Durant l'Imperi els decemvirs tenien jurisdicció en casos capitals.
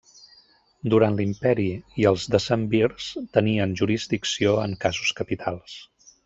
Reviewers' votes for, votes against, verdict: 0, 2, rejected